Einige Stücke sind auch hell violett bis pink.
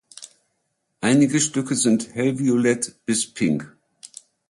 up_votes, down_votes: 0, 2